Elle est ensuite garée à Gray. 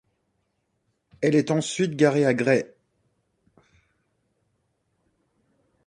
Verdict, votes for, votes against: accepted, 2, 0